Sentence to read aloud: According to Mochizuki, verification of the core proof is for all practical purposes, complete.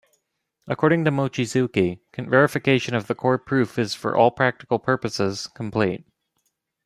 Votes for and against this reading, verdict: 1, 2, rejected